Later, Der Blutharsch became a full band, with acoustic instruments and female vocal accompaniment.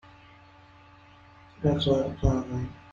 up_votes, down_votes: 0, 2